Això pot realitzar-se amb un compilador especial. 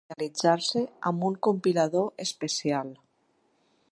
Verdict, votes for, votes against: rejected, 0, 2